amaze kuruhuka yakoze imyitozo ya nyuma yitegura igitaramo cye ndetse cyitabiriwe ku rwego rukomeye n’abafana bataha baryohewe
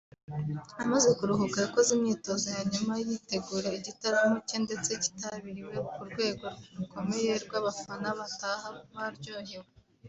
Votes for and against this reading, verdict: 1, 2, rejected